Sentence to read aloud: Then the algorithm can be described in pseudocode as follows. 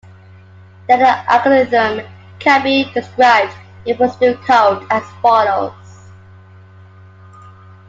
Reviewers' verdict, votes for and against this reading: rejected, 1, 2